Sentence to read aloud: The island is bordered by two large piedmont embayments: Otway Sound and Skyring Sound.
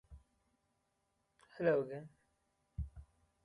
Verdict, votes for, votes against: rejected, 0, 2